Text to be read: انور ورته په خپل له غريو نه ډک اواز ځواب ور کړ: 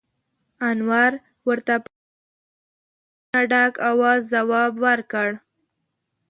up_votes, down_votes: 1, 2